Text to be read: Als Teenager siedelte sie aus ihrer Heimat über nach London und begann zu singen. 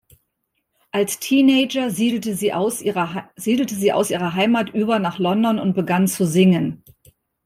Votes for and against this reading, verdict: 0, 2, rejected